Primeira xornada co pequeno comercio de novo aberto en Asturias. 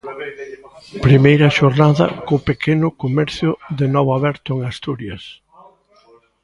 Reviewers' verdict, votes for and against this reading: rejected, 1, 3